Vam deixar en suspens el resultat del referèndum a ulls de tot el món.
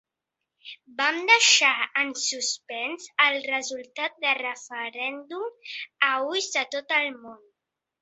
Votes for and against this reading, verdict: 1, 2, rejected